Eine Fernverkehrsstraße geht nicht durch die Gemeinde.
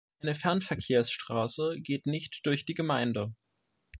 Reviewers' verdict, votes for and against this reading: rejected, 1, 2